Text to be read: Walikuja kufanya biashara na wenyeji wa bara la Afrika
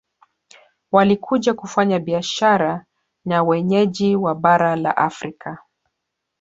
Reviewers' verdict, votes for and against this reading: rejected, 1, 2